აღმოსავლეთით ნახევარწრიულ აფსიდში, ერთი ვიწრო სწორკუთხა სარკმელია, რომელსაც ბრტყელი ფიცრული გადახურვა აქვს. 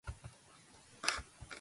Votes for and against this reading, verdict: 0, 2, rejected